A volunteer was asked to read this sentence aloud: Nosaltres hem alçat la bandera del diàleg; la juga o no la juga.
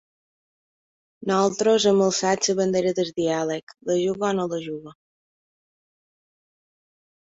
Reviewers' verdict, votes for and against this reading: rejected, 1, 2